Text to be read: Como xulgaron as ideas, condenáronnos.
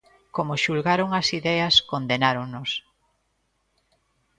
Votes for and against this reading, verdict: 2, 0, accepted